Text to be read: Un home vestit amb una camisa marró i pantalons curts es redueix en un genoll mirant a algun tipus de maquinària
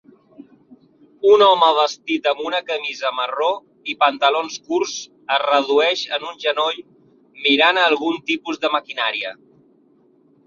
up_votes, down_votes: 4, 1